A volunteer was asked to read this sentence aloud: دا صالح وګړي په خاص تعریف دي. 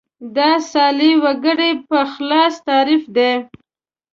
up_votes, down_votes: 1, 2